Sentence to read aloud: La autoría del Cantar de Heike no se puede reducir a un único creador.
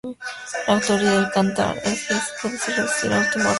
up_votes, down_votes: 0, 2